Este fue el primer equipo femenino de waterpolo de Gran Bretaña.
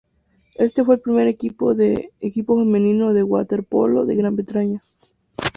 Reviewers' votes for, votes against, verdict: 0, 2, rejected